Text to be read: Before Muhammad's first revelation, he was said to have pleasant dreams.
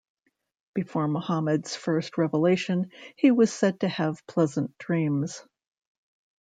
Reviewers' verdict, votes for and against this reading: rejected, 0, 2